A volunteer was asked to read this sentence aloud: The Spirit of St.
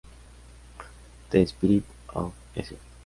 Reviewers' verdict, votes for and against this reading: rejected, 0, 2